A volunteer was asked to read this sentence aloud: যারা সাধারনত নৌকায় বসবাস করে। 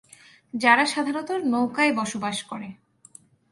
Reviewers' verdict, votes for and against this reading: rejected, 0, 4